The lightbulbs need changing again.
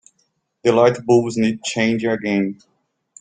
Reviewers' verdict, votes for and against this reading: rejected, 1, 3